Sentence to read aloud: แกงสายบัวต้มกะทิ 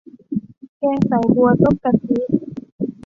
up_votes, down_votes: 2, 0